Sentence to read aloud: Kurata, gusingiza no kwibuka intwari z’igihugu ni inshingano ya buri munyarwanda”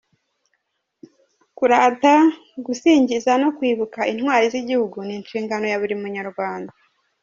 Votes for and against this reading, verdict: 2, 1, accepted